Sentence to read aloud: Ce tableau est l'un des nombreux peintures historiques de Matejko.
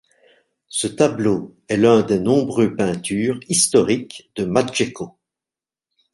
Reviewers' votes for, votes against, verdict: 1, 2, rejected